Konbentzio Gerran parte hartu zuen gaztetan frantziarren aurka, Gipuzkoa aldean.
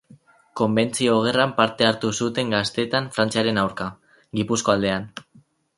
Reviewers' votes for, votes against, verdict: 2, 2, rejected